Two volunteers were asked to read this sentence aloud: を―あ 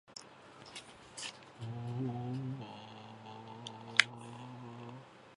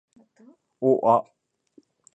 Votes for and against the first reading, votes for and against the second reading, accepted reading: 0, 2, 2, 0, second